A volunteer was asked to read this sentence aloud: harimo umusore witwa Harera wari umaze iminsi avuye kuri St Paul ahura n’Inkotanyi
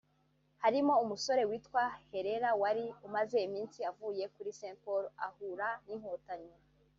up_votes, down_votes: 0, 2